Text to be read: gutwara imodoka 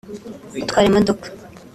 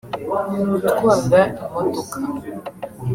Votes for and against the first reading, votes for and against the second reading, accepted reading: 2, 0, 1, 2, first